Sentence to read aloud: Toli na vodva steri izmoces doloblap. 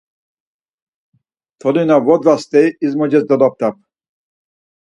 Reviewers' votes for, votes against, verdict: 4, 0, accepted